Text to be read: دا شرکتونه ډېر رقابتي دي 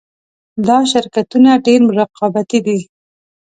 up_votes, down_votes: 2, 0